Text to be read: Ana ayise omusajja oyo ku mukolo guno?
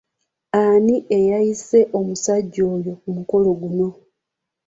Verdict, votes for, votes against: rejected, 1, 3